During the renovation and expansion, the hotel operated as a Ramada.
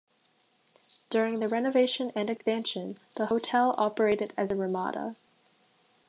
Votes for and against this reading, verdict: 1, 2, rejected